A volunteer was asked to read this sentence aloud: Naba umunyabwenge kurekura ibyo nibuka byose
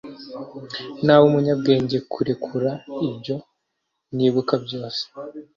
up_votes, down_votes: 2, 0